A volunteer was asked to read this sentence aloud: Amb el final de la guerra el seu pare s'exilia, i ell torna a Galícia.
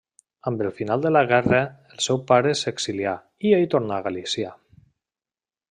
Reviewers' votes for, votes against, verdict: 1, 2, rejected